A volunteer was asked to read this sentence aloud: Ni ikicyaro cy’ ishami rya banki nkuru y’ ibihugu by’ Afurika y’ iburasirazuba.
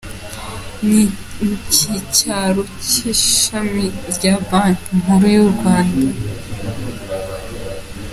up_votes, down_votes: 1, 2